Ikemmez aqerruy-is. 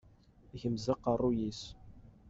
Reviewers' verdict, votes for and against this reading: accepted, 2, 1